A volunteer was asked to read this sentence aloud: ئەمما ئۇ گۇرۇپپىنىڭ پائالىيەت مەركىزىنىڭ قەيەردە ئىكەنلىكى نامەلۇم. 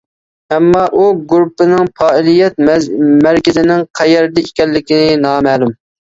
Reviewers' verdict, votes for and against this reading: rejected, 0, 2